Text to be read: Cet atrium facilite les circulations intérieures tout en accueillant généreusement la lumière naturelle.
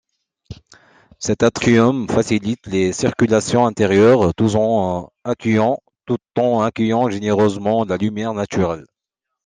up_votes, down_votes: 0, 2